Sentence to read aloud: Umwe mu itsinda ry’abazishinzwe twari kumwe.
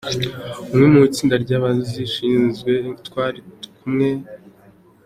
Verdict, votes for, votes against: accepted, 2, 1